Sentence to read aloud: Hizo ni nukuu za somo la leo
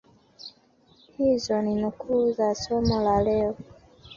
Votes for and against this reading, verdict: 1, 2, rejected